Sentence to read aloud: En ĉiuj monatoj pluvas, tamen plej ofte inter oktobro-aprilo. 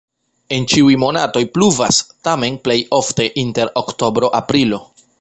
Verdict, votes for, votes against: accepted, 2, 0